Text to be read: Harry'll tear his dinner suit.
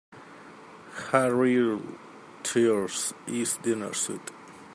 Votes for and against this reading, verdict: 2, 1, accepted